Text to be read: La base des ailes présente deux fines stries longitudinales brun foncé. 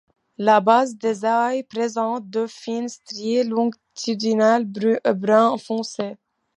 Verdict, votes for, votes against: rejected, 0, 2